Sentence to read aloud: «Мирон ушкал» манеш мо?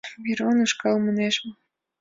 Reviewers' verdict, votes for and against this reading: accepted, 3, 2